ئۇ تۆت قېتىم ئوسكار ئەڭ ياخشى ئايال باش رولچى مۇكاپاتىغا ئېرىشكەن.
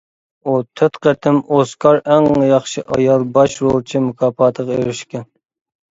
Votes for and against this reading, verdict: 2, 0, accepted